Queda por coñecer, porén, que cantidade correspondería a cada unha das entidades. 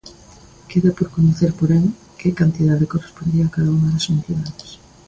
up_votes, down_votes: 2, 0